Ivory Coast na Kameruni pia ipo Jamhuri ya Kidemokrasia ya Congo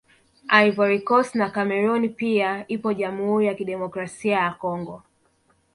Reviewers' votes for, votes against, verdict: 1, 2, rejected